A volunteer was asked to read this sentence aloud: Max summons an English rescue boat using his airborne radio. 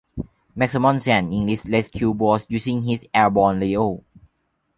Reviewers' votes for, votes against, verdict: 0, 2, rejected